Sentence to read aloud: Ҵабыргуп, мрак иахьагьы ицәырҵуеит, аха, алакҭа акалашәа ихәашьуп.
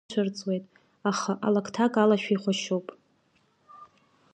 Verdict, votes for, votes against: rejected, 2, 3